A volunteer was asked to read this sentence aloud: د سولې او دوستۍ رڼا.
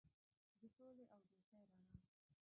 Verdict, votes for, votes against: rejected, 0, 2